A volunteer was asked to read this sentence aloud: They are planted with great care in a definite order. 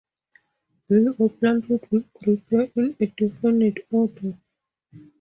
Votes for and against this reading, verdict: 0, 2, rejected